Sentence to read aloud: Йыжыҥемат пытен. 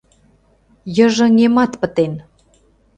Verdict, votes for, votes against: accepted, 2, 0